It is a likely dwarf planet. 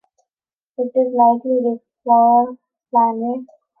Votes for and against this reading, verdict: 1, 2, rejected